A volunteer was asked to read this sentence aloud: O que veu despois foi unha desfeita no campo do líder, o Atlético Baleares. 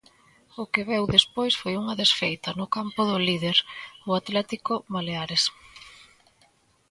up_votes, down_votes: 2, 0